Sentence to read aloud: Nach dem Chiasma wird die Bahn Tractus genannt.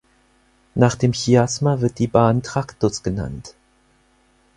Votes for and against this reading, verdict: 4, 0, accepted